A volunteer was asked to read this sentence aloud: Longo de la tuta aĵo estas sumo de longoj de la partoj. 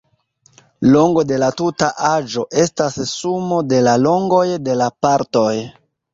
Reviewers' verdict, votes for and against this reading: accepted, 2, 1